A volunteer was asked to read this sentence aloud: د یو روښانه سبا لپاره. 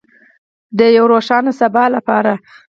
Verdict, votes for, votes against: rejected, 2, 4